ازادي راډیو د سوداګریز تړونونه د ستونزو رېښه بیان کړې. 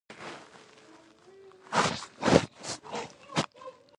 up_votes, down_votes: 0, 2